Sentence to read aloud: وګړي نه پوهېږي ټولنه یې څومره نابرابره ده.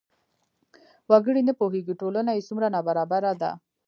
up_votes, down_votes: 2, 0